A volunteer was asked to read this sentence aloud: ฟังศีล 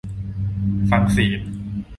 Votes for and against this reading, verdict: 2, 0, accepted